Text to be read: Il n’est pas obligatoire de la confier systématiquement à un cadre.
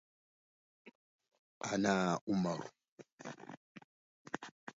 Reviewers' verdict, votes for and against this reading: rejected, 0, 2